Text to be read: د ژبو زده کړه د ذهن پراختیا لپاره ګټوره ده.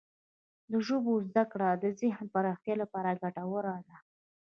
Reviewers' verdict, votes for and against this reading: accepted, 2, 0